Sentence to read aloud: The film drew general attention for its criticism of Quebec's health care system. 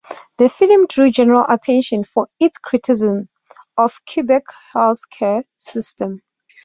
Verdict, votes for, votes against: accepted, 2, 0